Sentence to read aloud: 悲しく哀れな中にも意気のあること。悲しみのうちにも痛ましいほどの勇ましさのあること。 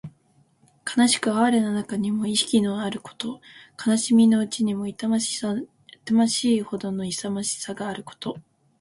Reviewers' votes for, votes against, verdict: 1, 2, rejected